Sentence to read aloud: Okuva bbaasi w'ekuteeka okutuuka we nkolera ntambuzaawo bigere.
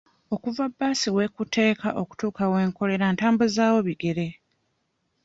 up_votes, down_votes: 2, 0